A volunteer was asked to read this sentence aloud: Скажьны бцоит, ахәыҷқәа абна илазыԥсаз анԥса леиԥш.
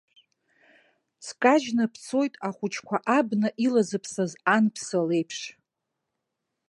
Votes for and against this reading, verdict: 2, 0, accepted